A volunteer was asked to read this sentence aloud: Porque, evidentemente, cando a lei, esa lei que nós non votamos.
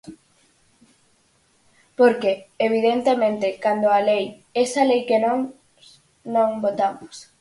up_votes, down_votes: 0, 4